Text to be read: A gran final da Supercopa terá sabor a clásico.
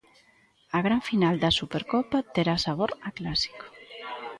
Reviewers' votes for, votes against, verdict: 2, 0, accepted